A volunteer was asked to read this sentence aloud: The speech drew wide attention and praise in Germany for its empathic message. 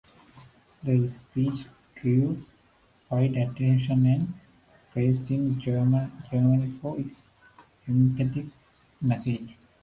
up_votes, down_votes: 1, 2